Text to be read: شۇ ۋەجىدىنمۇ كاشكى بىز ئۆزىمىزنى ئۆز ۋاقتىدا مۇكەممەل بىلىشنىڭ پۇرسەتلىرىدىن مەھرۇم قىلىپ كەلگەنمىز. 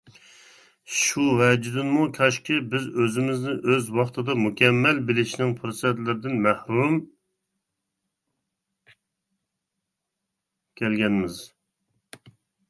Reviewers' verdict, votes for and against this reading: rejected, 0, 2